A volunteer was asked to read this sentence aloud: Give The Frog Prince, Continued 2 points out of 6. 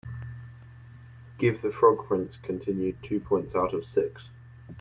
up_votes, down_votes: 0, 2